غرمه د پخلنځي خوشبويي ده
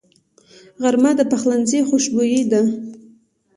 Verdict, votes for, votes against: accepted, 3, 0